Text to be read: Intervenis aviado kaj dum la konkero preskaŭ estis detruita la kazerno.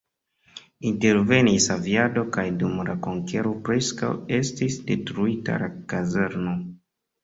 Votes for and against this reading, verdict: 2, 0, accepted